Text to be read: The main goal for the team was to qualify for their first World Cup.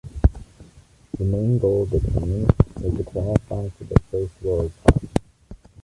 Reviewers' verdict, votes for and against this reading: rejected, 1, 2